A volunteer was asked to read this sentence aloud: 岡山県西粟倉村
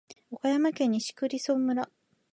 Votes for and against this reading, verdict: 1, 2, rejected